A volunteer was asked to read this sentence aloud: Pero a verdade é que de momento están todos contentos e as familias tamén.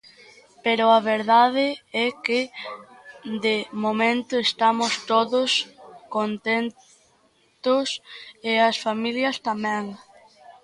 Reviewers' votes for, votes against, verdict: 0, 2, rejected